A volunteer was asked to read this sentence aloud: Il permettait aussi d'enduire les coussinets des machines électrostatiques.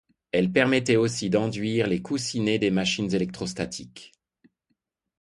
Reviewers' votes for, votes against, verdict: 2, 0, accepted